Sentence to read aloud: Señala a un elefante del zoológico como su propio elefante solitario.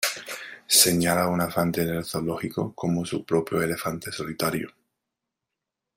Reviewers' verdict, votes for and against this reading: rejected, 1, 2